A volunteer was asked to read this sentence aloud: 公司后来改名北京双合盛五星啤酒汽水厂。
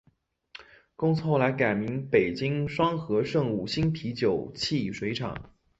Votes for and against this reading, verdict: 2, 0, accepted